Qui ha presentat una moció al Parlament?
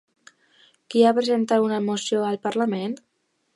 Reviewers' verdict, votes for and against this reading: accepted, 2, 0